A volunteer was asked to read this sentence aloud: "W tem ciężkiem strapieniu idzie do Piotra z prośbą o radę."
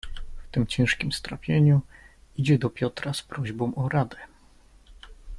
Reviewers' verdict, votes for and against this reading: accepted, 2, 0